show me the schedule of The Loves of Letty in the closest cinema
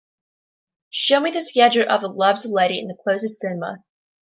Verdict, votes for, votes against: accepted, 2, 0